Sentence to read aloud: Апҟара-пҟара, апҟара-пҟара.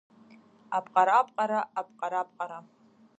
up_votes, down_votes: 0, 2